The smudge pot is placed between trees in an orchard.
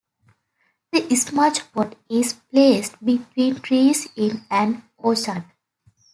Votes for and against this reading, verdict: 2, 0, accepted